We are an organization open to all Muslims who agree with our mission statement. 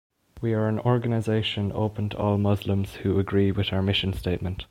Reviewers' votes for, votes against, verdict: 2, 0, accepted